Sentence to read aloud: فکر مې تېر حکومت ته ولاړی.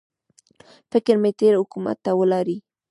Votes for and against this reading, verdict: 1, 2, rejected